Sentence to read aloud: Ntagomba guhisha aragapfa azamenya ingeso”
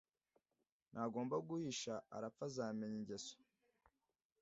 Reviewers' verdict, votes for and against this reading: rejected, 1, 2